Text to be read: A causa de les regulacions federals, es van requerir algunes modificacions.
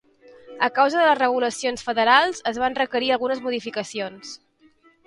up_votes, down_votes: 2, 1